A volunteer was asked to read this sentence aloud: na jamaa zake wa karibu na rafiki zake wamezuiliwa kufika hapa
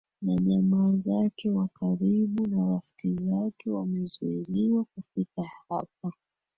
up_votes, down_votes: 1, 2